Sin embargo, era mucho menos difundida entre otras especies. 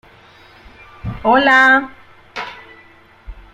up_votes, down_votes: 0, 2